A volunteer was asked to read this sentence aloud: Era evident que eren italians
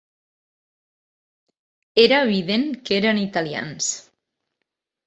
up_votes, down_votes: 4, 0